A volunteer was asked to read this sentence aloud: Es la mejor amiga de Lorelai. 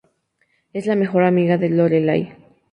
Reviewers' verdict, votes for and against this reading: accepted, 2, 0